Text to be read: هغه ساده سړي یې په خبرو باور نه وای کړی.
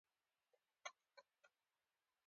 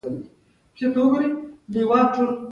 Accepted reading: first